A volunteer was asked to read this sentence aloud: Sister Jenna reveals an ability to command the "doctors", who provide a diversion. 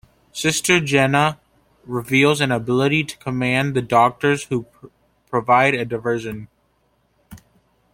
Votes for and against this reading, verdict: 2, 1, accepted